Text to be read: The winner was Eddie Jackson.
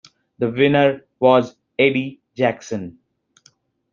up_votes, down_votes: 2, 0